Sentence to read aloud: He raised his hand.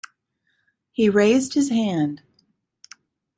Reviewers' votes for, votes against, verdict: 2, 0, accepted